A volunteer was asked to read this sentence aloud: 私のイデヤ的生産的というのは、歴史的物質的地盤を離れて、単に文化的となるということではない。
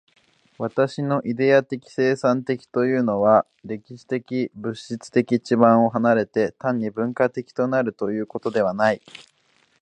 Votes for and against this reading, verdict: 2, 0, accepted